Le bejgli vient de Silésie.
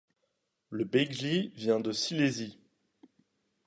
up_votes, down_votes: 2, 0